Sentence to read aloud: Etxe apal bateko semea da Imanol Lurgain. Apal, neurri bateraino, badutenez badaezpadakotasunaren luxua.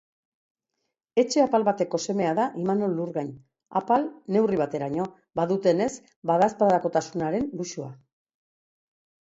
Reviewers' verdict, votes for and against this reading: accepted, 2, 0